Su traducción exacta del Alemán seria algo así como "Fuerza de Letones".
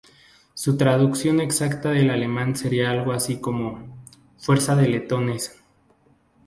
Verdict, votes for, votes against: accepted, 4, 0